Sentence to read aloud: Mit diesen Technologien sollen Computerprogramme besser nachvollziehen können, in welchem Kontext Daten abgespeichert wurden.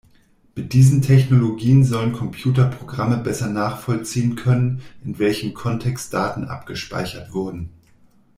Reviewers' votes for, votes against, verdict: 2, 0, accepted